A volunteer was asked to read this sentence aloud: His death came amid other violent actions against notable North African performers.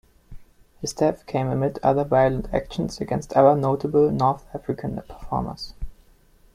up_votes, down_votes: 2, 0